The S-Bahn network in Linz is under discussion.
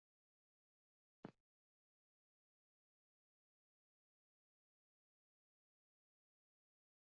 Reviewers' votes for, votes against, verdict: 0, 2, rejected